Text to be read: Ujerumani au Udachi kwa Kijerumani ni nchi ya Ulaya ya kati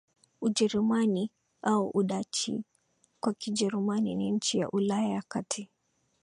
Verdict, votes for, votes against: accepted, 20, 1